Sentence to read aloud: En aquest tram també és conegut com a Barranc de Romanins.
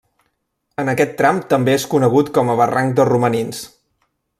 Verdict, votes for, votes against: accepted, 2, 0